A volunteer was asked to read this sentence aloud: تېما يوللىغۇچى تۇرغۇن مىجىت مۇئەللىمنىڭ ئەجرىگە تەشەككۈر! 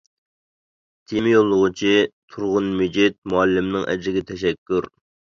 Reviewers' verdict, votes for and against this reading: accepted, 2, 0